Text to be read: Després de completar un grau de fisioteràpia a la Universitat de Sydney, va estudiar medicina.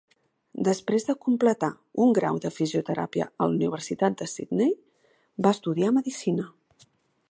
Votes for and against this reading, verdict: 2, 0, accepted